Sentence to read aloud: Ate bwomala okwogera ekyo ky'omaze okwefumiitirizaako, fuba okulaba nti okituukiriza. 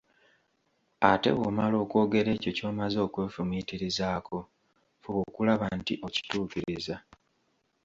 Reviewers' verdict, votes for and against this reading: accepted, 3, 0